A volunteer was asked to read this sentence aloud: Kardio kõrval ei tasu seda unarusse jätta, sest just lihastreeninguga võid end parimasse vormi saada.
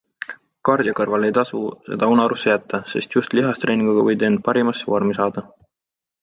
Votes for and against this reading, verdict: 2, 0, accepted